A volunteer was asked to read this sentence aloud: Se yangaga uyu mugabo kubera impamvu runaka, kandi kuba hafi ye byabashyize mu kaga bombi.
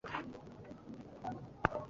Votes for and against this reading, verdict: 1, 2, rejected